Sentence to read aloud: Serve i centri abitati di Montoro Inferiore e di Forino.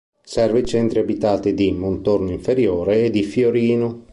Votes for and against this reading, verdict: 1, 3, rejected